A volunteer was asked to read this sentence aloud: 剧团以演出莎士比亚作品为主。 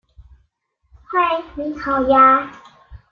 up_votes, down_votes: 0, 2